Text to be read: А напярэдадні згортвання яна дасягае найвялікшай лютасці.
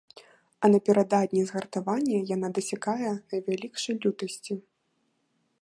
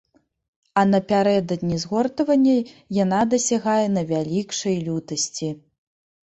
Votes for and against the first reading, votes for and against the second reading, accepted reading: 0, 2, 2, 0, second